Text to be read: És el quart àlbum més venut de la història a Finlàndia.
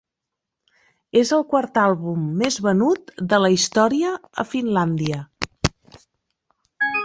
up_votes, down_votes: 3, 1